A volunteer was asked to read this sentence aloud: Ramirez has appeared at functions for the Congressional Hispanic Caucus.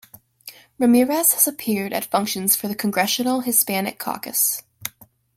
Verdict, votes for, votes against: accepted, 2, 0